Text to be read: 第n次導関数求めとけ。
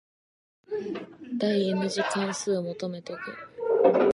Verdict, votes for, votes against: rejected, 0, 2